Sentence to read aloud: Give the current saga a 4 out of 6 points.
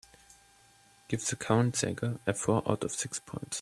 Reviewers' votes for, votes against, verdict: 0, 2, rejected